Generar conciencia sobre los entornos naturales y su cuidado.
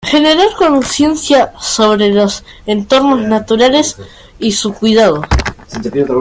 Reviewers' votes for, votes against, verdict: 0, 2, rejected